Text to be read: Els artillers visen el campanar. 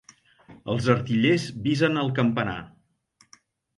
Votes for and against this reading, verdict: 3, 0, accepted